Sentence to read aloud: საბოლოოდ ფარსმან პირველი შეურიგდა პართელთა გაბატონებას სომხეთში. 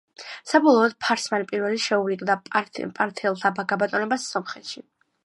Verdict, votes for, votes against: rejected, 1, 2